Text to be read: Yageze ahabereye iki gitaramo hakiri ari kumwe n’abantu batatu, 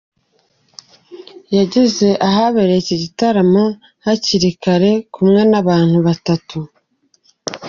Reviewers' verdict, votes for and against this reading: rejected, 0, 2